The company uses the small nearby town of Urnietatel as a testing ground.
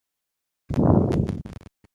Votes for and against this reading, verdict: 0, 2, rejected